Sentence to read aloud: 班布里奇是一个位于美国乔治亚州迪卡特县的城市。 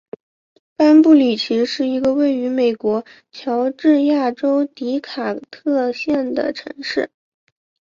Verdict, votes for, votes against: accepted, 3, 1